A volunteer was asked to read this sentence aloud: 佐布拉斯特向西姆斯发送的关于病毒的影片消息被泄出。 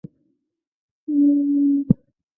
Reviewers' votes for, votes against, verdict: 0, 2, rejected